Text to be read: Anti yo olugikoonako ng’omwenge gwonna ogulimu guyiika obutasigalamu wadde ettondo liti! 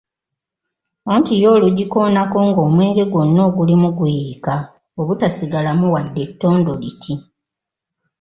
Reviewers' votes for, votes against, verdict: 2, 0, accepted